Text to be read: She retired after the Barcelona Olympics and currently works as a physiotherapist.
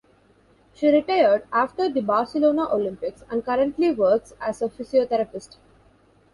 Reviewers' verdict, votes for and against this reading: accepted, 2, 0